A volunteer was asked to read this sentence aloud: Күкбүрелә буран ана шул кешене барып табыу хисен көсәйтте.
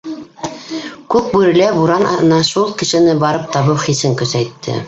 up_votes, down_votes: 1, 2